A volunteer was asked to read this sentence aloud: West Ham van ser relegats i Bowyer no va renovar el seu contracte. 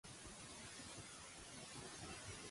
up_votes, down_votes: 0, 2